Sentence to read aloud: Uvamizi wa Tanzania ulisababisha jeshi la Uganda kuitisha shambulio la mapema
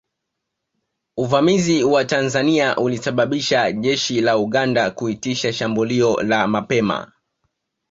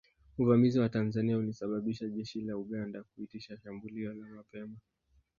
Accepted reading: first